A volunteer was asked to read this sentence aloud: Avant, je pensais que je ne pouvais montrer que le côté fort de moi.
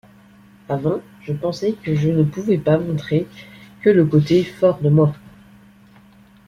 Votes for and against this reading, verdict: 0, 2, rejected